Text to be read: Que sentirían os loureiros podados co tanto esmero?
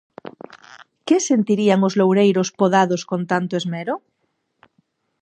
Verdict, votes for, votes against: rejected, 0, 2